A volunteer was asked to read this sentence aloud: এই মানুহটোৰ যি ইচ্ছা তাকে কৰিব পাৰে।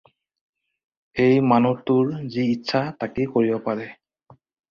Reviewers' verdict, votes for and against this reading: accepted, 2, 0